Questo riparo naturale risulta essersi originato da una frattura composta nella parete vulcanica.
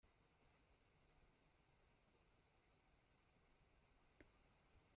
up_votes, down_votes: 0, 2